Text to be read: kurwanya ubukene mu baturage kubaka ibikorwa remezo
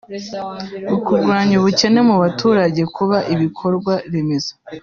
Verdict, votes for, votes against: rejected, 1, 2